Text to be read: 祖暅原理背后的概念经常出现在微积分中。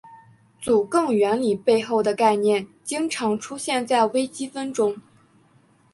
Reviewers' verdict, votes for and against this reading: accepted, 2, 0